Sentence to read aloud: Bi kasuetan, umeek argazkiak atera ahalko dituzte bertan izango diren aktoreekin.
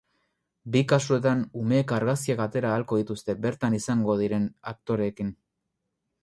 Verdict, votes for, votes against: accepted, 4, 0